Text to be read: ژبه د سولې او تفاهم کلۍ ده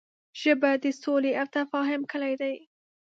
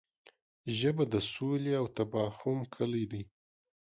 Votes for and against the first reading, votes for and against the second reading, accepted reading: 0, 2, 3, 0, second